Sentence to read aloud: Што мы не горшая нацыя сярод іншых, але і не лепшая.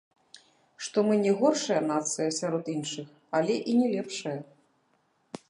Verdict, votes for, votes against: rejected, 0, 2